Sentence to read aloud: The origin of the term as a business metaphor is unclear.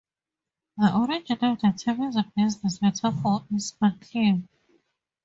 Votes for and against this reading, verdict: 0, 2, rejected